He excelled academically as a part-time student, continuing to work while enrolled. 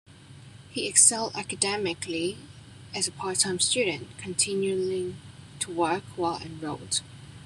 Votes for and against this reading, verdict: 2, 1, accepted